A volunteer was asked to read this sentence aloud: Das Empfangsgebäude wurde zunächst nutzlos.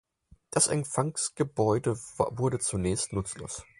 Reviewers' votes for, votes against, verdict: 0, 4, rejected